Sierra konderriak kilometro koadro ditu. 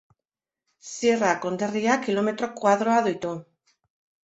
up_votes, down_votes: 0, 2